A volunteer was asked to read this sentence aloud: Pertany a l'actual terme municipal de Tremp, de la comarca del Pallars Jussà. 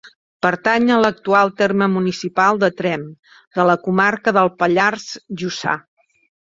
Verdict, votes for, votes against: accepted, 4, 0